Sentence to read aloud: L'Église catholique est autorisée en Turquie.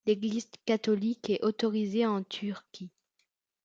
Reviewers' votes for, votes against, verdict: 2, 0, accepted